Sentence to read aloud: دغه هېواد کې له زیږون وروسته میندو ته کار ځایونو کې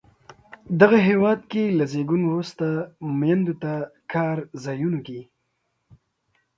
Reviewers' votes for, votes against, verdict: 2, 1, accepted